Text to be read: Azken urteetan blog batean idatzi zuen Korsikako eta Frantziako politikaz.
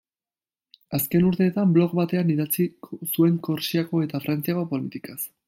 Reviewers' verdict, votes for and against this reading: rejected, 0, 2